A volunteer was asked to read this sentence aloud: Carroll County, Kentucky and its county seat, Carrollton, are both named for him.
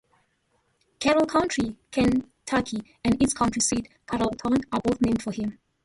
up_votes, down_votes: 0, 2